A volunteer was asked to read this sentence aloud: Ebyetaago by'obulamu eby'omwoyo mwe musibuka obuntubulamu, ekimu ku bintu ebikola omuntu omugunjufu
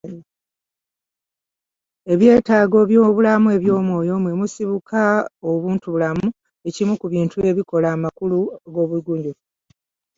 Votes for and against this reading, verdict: 0, 2, rejected